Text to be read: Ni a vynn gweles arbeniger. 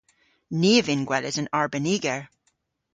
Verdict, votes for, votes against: rejected, 1, 2